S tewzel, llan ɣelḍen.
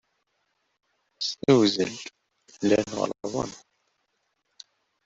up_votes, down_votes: 1, 2